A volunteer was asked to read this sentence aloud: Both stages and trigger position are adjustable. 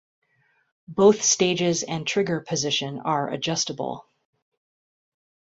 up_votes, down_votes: 2, 1